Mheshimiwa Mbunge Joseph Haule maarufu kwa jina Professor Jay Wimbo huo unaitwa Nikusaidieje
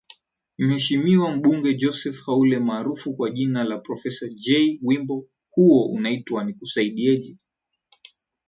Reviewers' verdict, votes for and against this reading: accepted, 5, 0